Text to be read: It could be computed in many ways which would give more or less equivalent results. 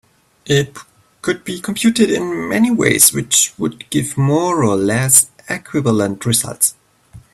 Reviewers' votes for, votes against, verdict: 5, 0, accepted